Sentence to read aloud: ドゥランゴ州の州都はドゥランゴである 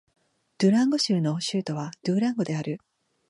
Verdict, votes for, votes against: accepted, 2, 0